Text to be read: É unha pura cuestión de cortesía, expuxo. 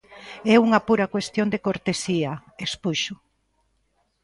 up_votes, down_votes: 2, 0